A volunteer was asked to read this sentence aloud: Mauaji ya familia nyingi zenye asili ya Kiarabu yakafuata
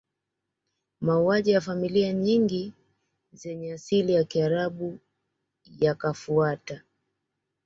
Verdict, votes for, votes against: accepted, 2, 0